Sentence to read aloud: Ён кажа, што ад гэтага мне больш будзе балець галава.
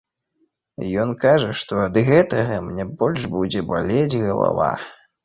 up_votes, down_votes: 2, 0